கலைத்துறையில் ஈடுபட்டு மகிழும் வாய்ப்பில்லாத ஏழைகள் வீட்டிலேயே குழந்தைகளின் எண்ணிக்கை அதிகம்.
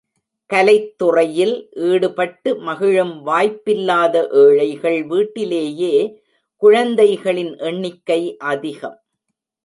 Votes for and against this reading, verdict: 2, 0, accepted